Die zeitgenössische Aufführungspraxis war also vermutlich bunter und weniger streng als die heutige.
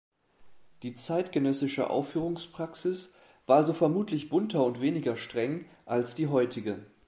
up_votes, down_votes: 2, 0